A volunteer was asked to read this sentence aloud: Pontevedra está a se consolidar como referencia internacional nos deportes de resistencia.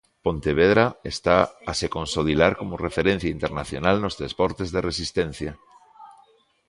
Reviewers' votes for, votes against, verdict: 2, 3, rejected